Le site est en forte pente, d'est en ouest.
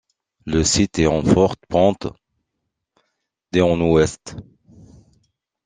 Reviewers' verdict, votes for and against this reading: rejected, 0, 2